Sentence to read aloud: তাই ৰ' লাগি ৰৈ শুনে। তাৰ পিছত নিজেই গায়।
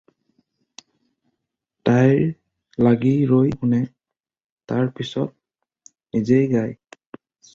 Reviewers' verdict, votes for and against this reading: rejected, 0, 4